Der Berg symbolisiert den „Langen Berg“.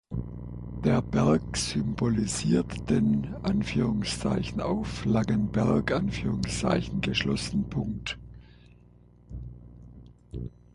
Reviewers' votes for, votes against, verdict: 0, 6, rejected